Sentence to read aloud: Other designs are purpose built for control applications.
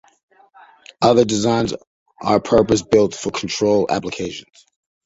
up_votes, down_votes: 2, 0